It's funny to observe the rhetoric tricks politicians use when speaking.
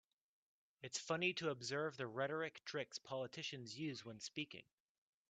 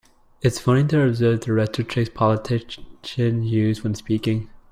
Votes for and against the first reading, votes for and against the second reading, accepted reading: 2, 1, 1, 2, first